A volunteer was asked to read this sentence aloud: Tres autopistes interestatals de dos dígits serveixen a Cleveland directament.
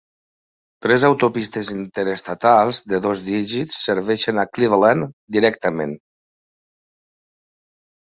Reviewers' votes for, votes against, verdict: 3, 0, accepted